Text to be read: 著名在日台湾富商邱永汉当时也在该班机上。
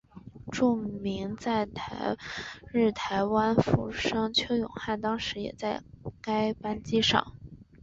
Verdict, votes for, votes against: rejected, 1, 2